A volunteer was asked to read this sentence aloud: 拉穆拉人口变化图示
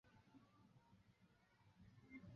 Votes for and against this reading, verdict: 0, 5, rejected